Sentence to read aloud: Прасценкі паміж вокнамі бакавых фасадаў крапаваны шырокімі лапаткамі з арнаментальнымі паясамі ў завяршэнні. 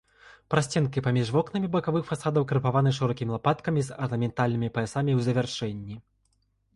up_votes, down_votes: 2, 0